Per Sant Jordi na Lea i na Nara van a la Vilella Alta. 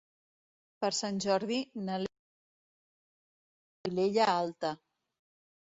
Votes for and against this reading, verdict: 0, 2, rejected